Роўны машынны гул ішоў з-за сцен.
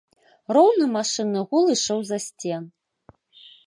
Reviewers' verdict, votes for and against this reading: accepted, 2, 0